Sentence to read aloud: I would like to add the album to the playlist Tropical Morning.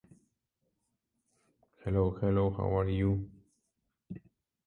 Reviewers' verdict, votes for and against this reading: rejected, 0, 2